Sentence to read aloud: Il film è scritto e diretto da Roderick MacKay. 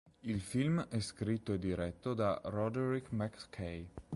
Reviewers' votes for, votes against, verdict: 2, 0, accepted